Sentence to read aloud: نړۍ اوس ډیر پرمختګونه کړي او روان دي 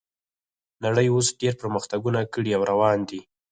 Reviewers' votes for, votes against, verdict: 0, 4, rejected